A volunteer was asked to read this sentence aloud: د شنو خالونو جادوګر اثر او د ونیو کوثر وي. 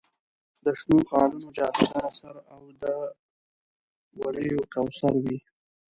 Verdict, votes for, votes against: rejected, 1, 2